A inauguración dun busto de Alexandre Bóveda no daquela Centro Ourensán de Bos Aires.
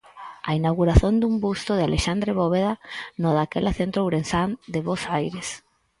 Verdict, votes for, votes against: rejected, 2, 4